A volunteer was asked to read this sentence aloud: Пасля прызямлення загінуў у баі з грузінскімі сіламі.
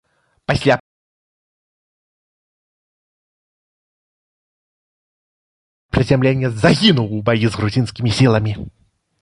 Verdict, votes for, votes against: rejected, 0, 3